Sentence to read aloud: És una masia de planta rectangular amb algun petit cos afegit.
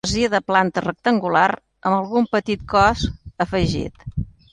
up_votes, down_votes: 0, 2